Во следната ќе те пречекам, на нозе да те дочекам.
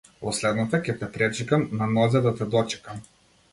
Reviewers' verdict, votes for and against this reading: rejected, 1, 2